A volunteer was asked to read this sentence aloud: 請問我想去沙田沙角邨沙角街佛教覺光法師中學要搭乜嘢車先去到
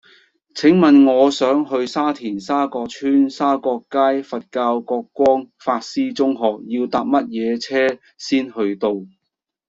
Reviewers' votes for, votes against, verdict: 2, 0, accepted